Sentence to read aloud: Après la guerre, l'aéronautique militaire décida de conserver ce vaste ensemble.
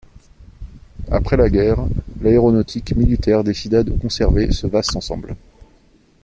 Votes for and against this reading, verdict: 2, 0, accepted